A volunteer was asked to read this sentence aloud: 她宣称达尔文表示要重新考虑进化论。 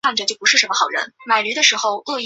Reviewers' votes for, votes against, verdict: 1, 2, rejected